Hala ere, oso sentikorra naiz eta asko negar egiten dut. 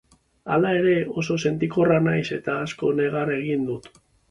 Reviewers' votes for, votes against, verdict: 2, 1, accepted